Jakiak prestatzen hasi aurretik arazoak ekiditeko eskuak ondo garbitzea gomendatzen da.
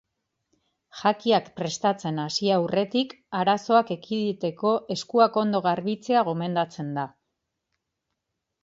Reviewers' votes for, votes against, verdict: 2, 0, accepted